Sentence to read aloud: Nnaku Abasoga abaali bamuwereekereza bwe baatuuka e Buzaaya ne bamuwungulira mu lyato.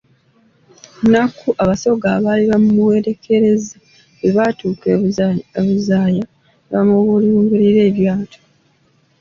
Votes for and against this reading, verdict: 1, 2, rejected